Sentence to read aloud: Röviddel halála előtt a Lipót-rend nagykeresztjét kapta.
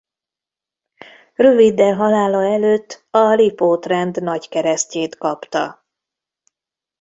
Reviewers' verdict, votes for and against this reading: accepted, 2, 0